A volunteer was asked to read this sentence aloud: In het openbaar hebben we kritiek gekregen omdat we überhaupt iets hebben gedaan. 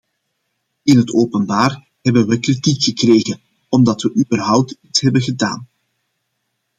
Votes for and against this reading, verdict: 2, 1, accepted